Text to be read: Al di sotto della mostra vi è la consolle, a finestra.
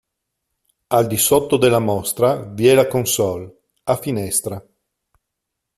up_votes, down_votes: 2, 0